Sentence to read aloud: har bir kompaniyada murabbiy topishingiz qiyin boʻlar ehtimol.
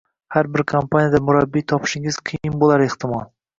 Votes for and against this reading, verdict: 0, 2, rejected